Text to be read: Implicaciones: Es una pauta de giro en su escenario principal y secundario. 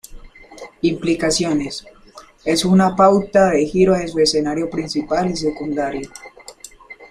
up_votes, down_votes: 2, 0